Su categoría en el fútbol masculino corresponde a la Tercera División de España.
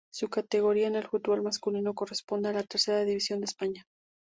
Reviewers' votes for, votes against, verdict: 2, 0, accepted